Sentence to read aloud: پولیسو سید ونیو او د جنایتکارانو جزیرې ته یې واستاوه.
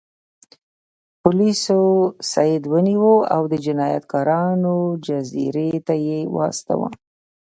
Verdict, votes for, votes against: rejected, 1, 2